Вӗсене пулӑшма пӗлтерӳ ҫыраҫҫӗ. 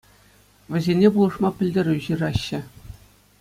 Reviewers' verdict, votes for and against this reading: accepted, 2, 0